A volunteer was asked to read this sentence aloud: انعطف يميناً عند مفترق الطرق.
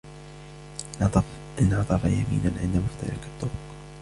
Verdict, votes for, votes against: rejected, 1, 2